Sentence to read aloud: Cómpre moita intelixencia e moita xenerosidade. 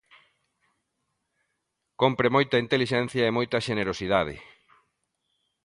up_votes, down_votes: 2, 0